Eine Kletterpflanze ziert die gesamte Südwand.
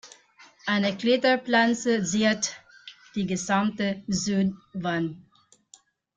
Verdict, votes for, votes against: rejected, 0, 2